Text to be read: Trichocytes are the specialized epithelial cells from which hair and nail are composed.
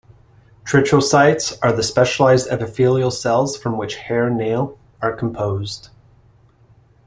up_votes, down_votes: 0, 2